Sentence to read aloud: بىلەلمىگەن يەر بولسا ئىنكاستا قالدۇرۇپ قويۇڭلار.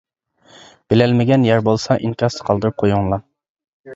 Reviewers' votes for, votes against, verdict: 2, 1, accepted